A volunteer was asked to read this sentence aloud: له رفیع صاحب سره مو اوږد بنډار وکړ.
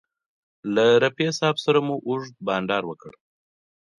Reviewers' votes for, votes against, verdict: 2, 0, accepted